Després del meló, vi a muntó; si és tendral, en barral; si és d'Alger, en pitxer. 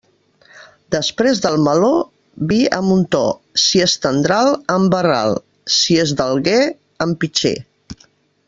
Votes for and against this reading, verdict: 1, 2, rejected